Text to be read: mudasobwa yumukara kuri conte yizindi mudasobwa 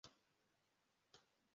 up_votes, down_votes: 0, 2